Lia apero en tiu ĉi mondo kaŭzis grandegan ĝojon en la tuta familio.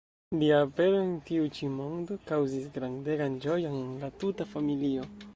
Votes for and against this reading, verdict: 0, 2, rejected